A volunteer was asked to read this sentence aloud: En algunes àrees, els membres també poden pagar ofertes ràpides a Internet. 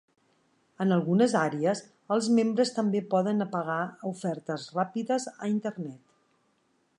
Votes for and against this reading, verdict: 2, 4, rejected